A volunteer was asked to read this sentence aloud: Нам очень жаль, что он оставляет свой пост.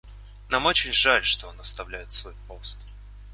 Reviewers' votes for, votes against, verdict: 2, 0, accepted